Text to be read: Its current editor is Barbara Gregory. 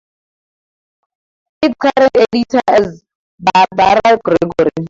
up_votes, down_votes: 0, 2